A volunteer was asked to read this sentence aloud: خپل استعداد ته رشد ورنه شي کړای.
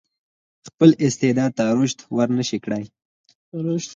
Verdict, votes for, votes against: accepted, 4, 0